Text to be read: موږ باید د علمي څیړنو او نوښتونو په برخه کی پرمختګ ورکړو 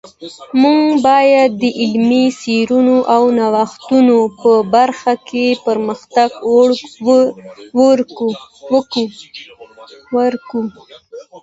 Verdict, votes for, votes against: rejected, 1, 2